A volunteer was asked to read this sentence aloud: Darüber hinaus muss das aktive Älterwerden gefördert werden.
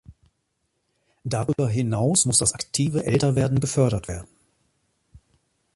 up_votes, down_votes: 2, 1